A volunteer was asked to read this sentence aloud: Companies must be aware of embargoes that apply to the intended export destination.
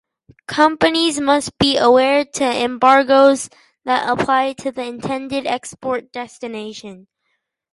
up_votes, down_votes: 0, 4